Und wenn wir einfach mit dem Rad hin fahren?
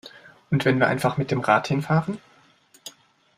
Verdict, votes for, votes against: accepted, 2, 0